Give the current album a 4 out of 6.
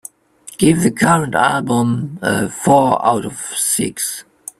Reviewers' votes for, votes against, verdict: 0, 2, rejected